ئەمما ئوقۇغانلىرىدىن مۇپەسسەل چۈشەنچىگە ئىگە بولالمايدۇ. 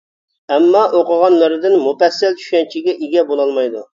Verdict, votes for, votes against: accepted, 2, 0